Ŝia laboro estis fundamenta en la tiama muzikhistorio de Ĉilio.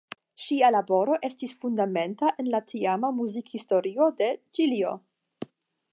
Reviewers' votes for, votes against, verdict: 10, 0, accepted